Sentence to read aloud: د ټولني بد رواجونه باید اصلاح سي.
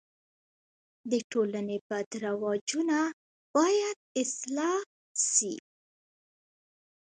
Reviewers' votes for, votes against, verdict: 2, 0, accepted